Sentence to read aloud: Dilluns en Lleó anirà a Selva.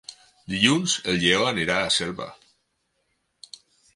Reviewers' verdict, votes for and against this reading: accepted, 6, 2